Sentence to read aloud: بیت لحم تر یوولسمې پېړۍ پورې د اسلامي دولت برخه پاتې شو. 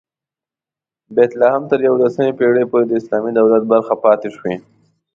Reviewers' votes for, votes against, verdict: 1, 2, rejected